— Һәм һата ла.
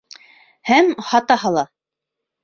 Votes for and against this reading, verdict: 0, 2, rejected